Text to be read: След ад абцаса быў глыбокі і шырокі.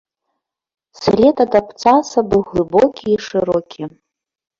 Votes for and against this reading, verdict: 1, 2, rejected